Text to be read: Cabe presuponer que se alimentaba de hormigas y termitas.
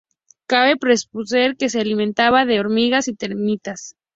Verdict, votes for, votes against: accepted, 2, 0